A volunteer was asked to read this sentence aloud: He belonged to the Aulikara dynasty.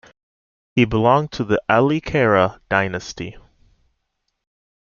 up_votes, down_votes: 2, 0